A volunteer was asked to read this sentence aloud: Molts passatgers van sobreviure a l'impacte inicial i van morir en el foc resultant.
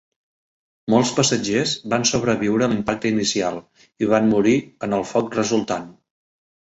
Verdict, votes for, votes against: accepted, 2, 0